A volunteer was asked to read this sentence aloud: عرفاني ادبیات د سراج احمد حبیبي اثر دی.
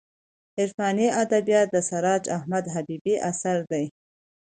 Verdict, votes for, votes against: accepted, 2, 0